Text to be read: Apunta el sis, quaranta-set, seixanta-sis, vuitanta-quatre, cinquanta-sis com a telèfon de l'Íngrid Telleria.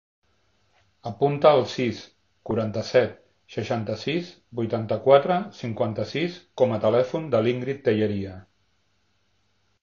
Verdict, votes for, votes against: accepted, 2, 1